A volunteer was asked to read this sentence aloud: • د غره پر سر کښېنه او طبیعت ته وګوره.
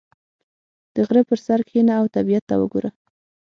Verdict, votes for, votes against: accepted, 6, 0